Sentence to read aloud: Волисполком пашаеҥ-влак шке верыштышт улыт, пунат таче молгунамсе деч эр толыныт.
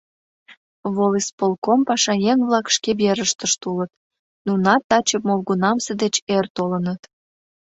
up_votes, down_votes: 0, 2